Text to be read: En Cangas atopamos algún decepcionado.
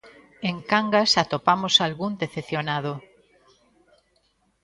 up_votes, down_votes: 2, 0